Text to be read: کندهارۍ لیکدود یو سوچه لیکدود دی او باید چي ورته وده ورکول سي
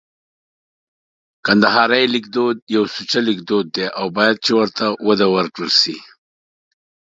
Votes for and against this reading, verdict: 2, 0, accepted